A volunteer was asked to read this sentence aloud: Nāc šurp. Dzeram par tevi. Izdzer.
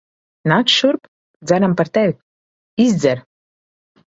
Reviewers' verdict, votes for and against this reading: rejected, 1, 2